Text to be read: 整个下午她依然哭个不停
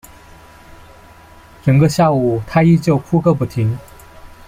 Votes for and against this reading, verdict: 0, 3, rejected